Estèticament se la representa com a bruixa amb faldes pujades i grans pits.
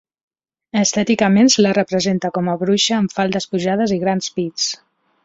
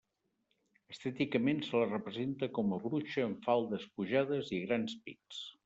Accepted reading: first